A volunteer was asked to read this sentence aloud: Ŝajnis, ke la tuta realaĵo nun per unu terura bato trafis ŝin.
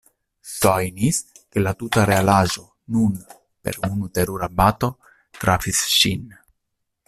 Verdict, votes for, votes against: rejected, 0, 2